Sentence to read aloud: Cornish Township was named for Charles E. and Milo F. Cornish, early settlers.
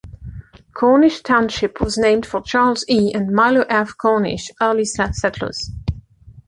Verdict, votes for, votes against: rejected, 1, 2